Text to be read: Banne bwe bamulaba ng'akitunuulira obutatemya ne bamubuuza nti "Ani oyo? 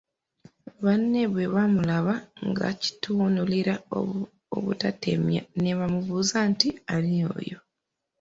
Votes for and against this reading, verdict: 0, 2, rejected